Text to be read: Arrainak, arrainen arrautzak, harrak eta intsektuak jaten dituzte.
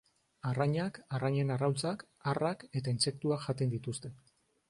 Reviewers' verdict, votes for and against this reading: accepted, 2, 0